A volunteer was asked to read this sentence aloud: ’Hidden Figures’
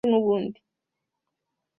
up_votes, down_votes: 1, 2